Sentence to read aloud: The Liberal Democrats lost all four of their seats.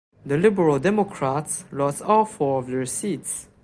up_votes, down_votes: 2, 0